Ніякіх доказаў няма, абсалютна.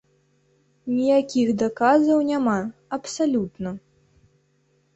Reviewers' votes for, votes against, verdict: 0, 2, rejected